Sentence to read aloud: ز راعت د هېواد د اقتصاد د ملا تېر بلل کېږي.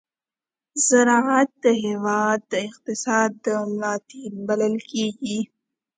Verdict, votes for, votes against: accepted, 2, 0